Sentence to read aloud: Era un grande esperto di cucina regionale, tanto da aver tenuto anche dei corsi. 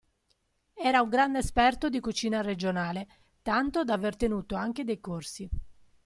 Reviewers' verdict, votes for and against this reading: accepted, 2, 0